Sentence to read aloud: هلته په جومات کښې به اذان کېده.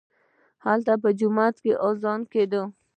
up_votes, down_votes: 2, 1